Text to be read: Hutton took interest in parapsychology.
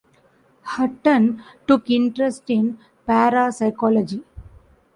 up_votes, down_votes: 2, 0